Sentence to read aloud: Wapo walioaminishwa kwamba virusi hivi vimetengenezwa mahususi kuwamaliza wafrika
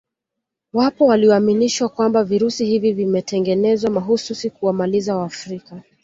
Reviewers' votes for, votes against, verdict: 2, 1, accepted